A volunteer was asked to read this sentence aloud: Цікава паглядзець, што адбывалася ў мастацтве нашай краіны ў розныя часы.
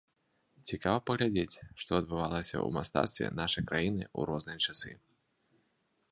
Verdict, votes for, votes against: accepted, 2, 0